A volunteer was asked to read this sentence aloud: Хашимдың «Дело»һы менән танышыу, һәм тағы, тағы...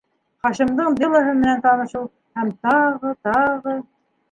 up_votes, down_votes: 1, 2